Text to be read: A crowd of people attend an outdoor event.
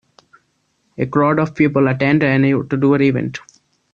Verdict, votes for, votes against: rejected, 0, 2